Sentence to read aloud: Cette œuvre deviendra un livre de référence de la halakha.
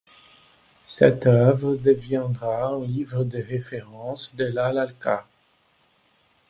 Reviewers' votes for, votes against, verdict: 0, 2, rejected